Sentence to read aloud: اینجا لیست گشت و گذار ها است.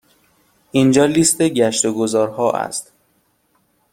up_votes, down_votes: 2, 0